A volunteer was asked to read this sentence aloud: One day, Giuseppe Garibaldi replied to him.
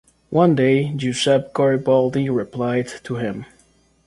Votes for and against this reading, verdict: 2, 0, accepted